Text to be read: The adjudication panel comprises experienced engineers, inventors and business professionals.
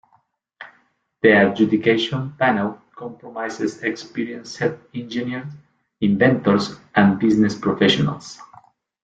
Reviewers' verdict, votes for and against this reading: rejected, 0, 2